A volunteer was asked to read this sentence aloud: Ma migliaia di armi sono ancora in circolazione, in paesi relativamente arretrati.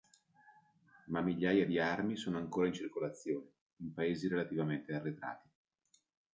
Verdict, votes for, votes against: accepted, 2, 0